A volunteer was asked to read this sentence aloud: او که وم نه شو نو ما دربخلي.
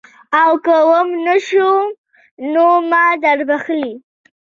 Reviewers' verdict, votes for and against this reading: accepted, 2, 0